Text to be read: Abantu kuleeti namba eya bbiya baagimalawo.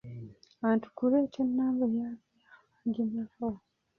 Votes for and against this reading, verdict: 0, 3, rejected